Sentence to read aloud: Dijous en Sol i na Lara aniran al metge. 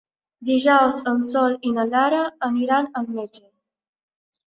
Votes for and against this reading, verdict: 3, 0, accepted